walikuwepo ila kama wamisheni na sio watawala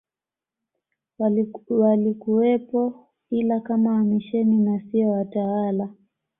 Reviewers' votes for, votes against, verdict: 1, 2, rejected